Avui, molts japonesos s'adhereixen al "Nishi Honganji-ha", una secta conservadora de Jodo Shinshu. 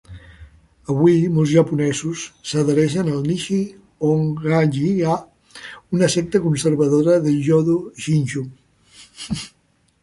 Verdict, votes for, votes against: accepted, 2, 1